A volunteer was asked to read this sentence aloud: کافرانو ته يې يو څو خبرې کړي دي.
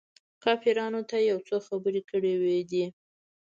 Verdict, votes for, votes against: rejected, 1, 2